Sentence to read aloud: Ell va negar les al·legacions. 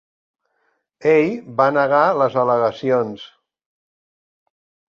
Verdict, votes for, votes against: accepted, 3, 0